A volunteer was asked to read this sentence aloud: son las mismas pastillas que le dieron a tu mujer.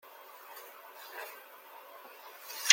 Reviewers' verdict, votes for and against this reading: rejected, 0, 2